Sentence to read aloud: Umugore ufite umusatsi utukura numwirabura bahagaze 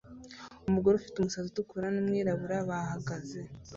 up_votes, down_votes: 0, 2